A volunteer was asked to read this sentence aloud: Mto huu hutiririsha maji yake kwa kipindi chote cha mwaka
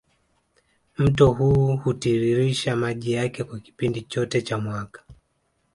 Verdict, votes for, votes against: accepted, 2, 0